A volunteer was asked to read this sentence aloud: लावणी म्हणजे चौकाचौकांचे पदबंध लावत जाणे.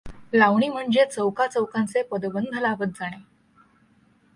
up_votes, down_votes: 2, 0